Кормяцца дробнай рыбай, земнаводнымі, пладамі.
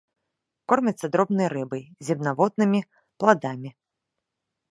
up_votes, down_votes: 2, 0